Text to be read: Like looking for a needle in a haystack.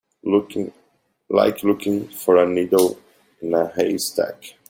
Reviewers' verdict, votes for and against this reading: rejected, 0, 2